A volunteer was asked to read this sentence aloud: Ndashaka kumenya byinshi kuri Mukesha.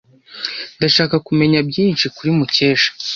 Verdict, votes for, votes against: accepted, 2, 0